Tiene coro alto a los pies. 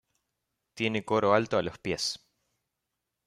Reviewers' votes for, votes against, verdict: 2, 1, accepted